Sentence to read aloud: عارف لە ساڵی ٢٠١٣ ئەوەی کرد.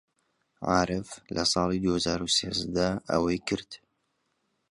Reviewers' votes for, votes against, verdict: 0, 2, rejected